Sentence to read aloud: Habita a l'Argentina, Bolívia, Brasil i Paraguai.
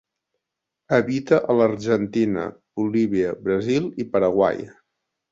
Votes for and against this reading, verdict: 2, 0, accepted